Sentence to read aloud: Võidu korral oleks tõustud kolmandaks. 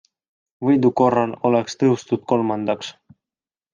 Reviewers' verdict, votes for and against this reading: accepted, 2, 0